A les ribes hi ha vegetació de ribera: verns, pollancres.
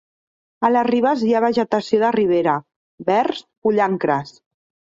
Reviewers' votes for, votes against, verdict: 2, 0, accepted